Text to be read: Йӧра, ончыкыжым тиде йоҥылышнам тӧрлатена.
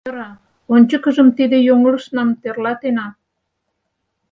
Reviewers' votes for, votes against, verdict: 4, 0, accepted